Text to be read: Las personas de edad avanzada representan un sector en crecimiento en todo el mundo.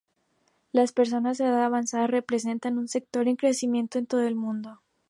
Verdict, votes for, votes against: accepted, 2, 0